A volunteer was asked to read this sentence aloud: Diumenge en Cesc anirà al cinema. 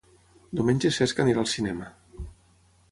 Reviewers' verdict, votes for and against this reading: rejected, 3, 3